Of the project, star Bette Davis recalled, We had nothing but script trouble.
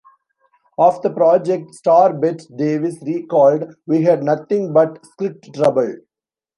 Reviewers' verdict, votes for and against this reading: accepted, 2, 0